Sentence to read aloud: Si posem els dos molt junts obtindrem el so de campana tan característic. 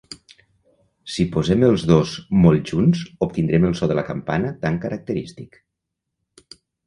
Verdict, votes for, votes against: rejected, 0, 2